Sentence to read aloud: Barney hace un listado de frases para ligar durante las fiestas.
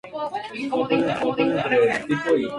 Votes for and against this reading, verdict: 0, 2, rejected